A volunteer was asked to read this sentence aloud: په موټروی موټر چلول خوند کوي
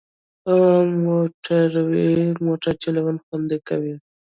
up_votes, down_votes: 0, 2